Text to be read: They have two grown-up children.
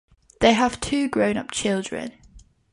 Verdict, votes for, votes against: accepted, 3, 0